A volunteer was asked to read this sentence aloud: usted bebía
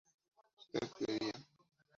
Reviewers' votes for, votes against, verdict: 2, 0, accepted